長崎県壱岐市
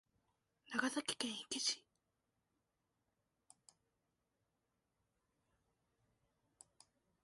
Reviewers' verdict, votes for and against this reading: accepted, 2, 0